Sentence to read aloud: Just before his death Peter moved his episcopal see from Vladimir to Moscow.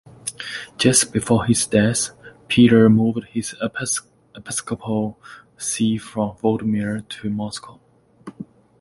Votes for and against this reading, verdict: 2, 1, accepted